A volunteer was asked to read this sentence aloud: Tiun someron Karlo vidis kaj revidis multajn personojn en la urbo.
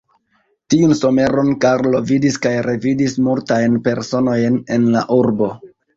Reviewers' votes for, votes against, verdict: 2, 0, accepted